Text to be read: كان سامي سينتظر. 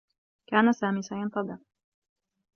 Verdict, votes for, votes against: accepted, 2, 0